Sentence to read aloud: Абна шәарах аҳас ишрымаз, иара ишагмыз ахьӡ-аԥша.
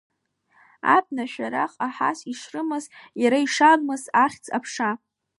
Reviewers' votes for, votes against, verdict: 1, 2, rejected